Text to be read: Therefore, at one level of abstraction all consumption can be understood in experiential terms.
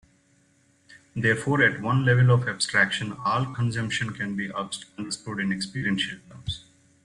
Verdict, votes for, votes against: rejected, 1, 2